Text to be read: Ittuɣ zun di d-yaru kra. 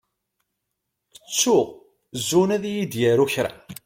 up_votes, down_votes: 2, 0